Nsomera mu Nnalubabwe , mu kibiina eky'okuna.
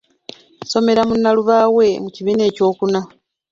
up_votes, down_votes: 2, 0